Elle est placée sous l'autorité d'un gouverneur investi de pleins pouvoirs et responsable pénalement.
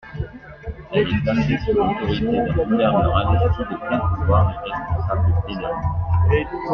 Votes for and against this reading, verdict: 0, 2, rejected